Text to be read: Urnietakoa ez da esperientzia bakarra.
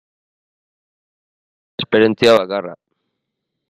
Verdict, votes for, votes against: rejected, 0, 2